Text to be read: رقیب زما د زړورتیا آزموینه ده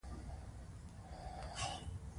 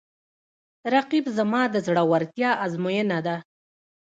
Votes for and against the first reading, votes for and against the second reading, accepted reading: 2, 0, 0, 2, first